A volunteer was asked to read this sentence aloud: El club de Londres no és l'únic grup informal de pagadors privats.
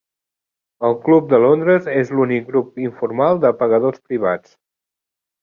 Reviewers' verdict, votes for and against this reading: rejected, 1, 2